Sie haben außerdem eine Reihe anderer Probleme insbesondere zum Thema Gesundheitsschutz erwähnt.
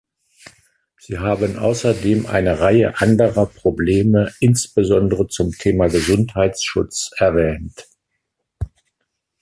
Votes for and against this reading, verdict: 1, 2, rejected